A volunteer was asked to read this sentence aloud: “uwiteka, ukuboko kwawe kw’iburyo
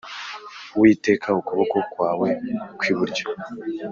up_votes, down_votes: 4, 0